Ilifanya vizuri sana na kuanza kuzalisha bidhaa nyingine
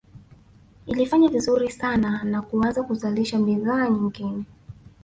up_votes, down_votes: 0, 2